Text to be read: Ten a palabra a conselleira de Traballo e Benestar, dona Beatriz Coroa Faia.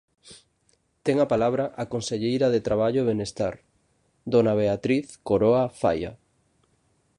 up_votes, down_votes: 2, 0